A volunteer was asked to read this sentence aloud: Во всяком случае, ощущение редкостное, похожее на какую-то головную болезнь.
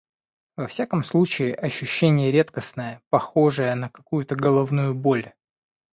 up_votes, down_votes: 0, 2